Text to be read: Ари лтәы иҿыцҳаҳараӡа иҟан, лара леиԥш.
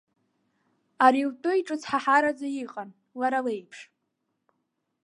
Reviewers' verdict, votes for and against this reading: accepted, 2, 0